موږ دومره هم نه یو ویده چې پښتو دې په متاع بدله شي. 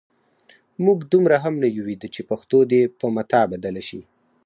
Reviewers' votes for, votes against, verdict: 4, 0, accepted